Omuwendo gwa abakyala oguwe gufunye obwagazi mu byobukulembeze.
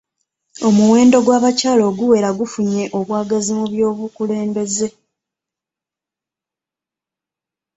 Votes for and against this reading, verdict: 1, 2, rejected